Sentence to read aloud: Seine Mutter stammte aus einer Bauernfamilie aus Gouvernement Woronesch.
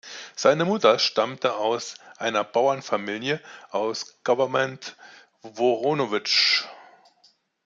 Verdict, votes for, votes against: rejected, 1, 2